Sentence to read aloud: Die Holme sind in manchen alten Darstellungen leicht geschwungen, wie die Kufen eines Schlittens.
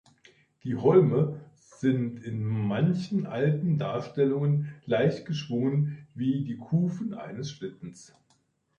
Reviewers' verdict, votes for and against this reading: accepted, 2, 0